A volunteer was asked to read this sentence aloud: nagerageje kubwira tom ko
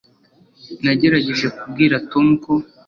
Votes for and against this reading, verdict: 2, 0, accepted